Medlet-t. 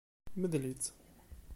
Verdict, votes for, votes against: rejected, 1, 2